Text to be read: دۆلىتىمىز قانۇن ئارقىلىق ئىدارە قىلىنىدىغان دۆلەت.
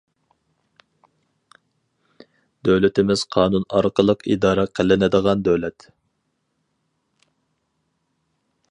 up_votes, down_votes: 4, 0